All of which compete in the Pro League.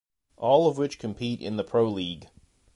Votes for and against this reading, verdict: 2, 0, accepted